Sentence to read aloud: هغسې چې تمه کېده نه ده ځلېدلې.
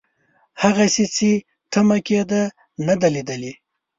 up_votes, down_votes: 1, 2